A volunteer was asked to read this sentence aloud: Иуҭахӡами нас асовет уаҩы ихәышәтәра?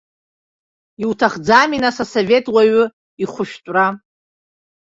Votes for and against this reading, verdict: 2, 0, accepted